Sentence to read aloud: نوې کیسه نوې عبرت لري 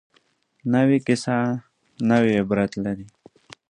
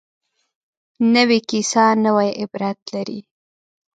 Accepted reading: first